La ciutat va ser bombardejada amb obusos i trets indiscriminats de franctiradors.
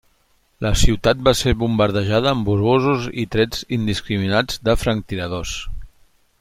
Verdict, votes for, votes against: rejected, 1, 2